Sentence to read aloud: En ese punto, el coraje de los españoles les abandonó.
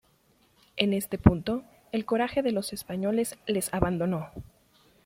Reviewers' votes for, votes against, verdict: 1, 2, rejected